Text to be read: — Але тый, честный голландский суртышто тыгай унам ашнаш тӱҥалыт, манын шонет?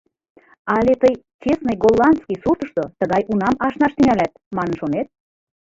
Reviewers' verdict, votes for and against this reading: rejected, 1, 2